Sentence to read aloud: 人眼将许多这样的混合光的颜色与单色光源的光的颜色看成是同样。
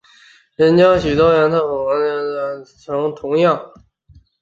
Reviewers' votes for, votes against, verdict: 0, 5, rejected